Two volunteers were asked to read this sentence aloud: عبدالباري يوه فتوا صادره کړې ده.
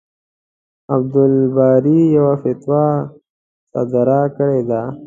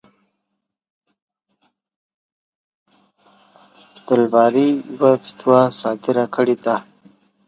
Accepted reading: first